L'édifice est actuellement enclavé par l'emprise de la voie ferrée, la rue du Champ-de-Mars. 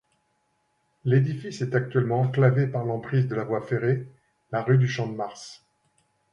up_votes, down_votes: 2, 0